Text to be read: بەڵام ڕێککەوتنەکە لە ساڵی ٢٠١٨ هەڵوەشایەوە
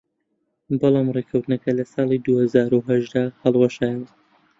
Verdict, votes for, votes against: rejected, 0, 2